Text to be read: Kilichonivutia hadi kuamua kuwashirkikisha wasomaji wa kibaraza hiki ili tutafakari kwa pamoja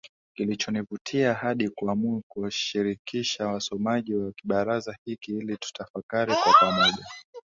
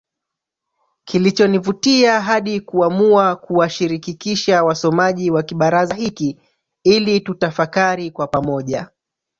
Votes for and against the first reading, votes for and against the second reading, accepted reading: 2, 0, 0, 2, first